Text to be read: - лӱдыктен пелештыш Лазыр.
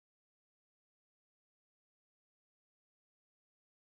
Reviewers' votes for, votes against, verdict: 0, 2, rejected